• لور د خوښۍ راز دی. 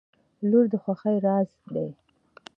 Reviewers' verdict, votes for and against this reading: accepted, 2, 0